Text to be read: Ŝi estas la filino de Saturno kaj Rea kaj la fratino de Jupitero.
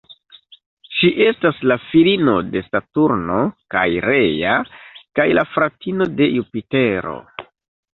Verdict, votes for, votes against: rejected, 1, 2